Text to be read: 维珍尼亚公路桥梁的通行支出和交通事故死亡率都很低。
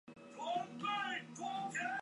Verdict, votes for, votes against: rejected, 0, 4